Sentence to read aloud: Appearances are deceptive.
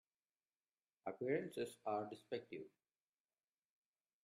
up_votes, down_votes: 1, 2